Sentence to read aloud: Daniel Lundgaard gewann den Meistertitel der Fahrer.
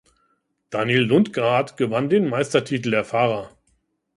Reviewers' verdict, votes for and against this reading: rejected, 1, 2